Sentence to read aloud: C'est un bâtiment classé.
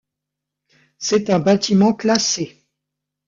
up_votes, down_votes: 2, 0